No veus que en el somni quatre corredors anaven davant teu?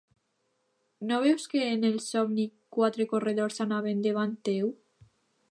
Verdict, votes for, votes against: accepted, 2, 0